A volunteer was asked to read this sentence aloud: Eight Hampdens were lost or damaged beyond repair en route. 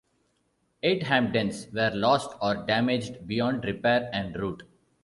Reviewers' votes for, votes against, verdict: 1, 2, rejected